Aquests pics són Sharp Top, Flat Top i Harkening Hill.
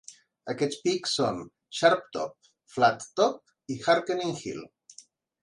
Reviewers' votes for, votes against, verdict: 3, 0, accepted